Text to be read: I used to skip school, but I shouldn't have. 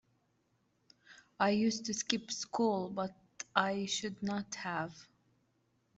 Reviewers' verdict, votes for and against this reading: rejected, 1, 2